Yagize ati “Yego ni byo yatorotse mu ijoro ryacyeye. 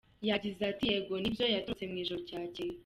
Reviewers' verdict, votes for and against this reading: rejected, 0, 2